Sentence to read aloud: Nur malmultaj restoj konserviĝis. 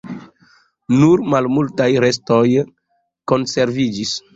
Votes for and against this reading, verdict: 2, 0, accepted